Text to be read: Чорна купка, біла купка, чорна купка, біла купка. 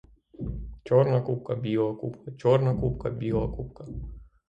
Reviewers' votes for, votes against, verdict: 3, 3, rejected